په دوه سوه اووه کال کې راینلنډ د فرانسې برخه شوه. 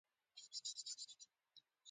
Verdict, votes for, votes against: accepted, 2, 0